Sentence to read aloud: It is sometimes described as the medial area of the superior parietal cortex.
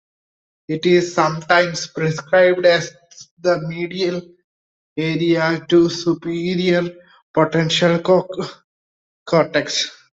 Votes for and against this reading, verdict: 0, 2, rejected